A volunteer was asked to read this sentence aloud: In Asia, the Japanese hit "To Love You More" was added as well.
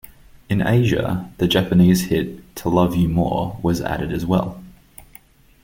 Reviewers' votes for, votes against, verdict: 2, 0, accepted